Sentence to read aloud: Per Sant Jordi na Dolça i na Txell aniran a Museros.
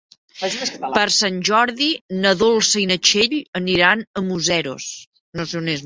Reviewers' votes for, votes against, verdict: 0, 2, rejected